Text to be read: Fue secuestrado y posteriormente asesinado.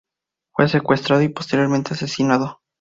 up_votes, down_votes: 2, 0